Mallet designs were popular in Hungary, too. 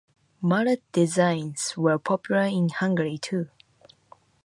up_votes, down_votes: 2, 0